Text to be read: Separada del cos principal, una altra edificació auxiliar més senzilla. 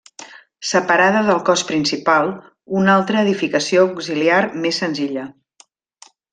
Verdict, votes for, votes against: accepted, 3, 0